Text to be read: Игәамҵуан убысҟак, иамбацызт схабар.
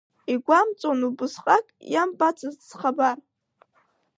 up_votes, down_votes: 2, 0